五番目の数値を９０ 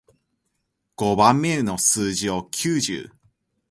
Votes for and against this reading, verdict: 0, 2, rejected